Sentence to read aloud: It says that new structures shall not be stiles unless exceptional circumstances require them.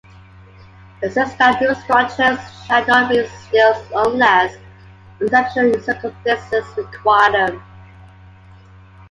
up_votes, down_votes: 2, 1